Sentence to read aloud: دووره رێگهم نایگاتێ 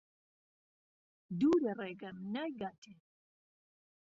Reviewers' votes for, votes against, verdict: 2, 0, accepted